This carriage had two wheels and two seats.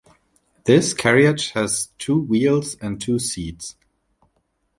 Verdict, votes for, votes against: accepted, 2, 0